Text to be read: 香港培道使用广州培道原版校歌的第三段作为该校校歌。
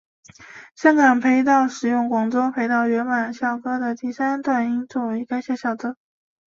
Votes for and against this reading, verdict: 2, 0, accepted